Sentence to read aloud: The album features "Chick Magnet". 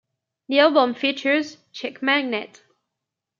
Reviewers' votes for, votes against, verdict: 2, 0, accepted